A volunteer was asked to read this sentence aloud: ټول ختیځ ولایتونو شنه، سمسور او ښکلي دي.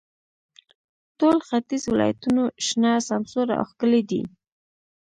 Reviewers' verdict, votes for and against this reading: accepted, 3, 0